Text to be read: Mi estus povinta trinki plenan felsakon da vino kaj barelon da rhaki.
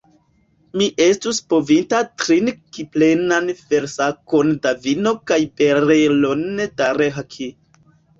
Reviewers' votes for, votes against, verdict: 0, 2, rejected